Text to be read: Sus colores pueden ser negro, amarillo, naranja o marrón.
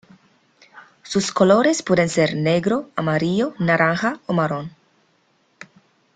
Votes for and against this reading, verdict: 2, 0, accepted